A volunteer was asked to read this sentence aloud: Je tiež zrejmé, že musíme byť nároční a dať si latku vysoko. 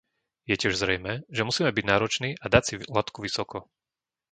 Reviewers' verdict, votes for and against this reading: rejected, 1, 2